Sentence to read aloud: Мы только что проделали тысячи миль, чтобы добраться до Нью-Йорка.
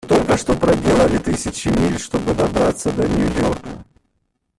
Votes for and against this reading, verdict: 0, 3, rejected